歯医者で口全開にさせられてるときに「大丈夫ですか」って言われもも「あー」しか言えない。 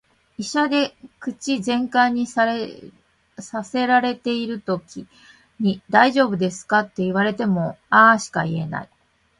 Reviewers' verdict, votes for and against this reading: rejected, 1, 2